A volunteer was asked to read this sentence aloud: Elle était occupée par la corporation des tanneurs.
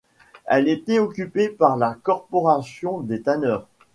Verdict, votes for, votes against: accepted, 2, 0